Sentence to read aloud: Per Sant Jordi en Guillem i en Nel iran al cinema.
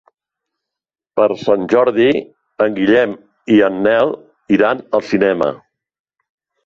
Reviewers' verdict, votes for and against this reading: accepted, 3, 0